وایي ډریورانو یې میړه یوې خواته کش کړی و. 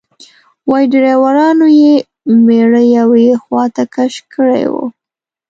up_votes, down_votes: 2, 0